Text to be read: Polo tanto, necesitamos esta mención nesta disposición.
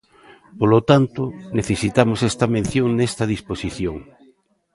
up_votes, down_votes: 1, 2